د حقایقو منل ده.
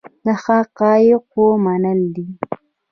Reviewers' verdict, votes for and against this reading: rejected, 1, 2